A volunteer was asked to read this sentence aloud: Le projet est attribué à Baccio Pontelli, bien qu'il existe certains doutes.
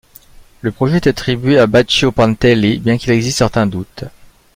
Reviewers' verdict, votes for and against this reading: accepted, 2, 0